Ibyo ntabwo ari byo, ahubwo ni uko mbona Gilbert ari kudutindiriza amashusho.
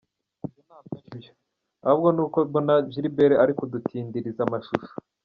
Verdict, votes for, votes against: accepted, 2, 0